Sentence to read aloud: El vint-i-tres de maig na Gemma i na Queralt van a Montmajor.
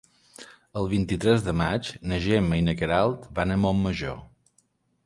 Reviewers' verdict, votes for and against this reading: accepted, 3, 0